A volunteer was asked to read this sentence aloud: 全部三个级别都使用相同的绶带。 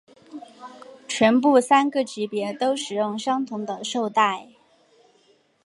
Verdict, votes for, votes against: accepted, 4, 0